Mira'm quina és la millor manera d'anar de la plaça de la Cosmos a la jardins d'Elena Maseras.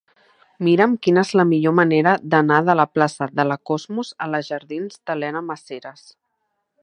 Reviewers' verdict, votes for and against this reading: accepted, 2, 0